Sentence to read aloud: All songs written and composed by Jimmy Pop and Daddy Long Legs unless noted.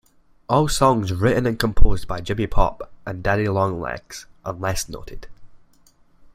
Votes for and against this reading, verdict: 2, 0, accepted